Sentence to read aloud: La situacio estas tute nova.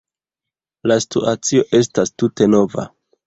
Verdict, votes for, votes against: rejected, 1, 2